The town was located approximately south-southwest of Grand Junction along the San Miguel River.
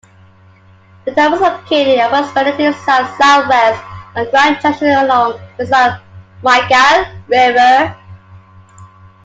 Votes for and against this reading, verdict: 0, 2, rejected